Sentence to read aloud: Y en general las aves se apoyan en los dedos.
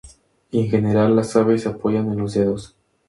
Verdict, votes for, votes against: accepted, 2, 0